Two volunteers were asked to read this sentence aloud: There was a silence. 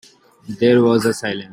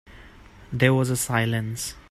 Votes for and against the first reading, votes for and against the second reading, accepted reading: 0, 2, 2, 0, second